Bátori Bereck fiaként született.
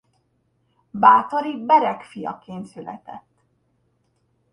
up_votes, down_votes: 1, 2